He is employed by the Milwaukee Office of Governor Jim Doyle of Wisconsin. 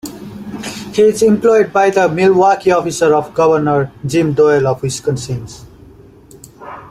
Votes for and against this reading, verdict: 1, 2, rejected